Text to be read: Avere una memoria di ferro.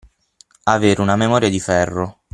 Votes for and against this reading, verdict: 9, 0, accepted